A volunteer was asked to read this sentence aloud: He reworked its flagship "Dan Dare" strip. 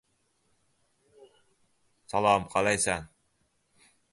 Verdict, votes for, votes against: rejected, 0, 2